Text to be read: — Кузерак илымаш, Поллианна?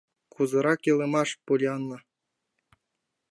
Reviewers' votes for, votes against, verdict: 2, 0, accepted